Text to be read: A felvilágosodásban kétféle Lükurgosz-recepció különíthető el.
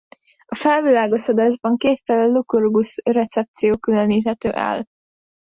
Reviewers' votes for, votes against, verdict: 1, 2, rejected